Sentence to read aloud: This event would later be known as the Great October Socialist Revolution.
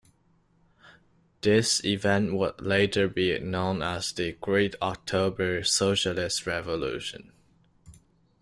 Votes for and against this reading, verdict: 1, 2, rejected